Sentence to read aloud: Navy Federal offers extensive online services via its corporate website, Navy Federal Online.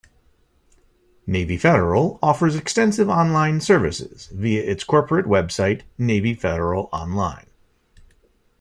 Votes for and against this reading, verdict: 2, 0, accepted